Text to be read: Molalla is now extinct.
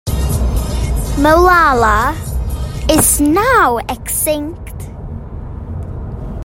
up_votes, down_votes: 0, 2